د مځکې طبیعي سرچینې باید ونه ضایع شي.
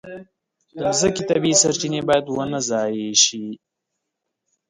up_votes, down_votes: 0, 2